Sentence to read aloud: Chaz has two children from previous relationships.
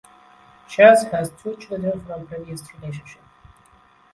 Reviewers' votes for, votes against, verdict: 0, 2, rejected